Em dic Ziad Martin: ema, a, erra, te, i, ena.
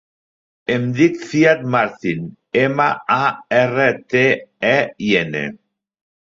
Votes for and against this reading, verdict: 2, 0, accepted